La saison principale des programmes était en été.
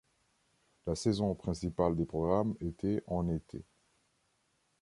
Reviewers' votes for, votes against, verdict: 2, 0, accepted